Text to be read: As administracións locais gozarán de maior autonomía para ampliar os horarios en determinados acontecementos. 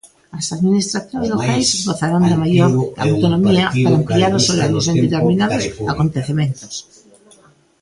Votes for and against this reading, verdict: 0, 2, rejected